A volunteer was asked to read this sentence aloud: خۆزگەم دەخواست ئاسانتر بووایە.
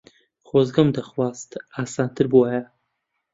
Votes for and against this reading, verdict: 2, 0, accepted